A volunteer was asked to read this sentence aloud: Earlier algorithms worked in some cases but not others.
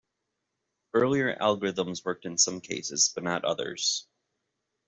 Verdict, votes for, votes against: accepted, 2, 0